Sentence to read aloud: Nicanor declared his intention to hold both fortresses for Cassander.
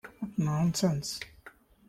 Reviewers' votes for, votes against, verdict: 0, 2, rejected